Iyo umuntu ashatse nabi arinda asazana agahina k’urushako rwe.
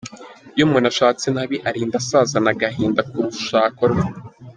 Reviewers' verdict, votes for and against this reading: accepted, 2, 0